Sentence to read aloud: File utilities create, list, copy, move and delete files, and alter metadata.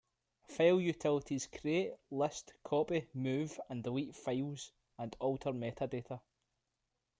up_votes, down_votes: 2, 0